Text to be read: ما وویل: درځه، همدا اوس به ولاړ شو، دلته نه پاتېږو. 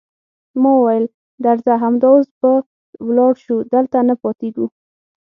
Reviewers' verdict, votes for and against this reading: accepted, 6, 0